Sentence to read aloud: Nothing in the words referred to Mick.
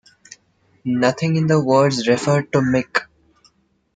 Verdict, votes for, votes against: accepted, 2, 0